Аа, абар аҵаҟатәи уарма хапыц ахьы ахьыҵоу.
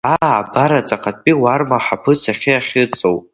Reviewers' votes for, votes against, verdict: 0, 2, rejected